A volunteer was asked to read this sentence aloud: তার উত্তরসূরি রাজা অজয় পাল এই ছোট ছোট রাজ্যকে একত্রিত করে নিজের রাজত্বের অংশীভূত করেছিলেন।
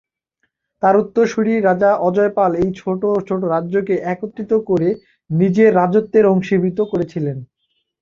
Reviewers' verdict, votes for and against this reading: accepted, 2, 0